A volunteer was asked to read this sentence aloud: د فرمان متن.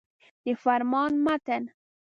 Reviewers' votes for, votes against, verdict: 2, 0, accepted